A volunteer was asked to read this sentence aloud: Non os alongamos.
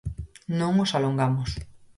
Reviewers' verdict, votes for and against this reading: accepted, 4, 0